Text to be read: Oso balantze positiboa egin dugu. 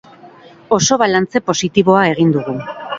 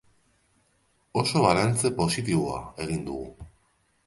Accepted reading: second